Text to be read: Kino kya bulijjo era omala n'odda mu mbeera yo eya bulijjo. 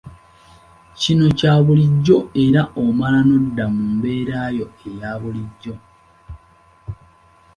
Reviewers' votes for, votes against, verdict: 2, 0, accepted